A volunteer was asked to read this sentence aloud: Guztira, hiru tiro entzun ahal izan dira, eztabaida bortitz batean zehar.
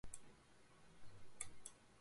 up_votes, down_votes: 0, 4